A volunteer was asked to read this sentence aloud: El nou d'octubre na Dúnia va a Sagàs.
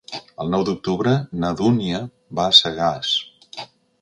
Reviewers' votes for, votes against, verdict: 4, 0, accepted